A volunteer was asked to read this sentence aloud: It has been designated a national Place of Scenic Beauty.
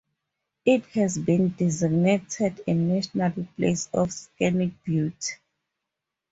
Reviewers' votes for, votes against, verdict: 2, 2, rejected